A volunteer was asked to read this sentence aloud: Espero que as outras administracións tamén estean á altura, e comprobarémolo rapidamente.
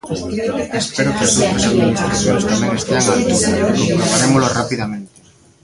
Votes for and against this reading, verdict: 0, 2, rejected